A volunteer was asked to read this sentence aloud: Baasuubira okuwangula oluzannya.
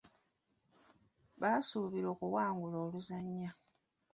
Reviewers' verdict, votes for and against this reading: accepted, 2, 0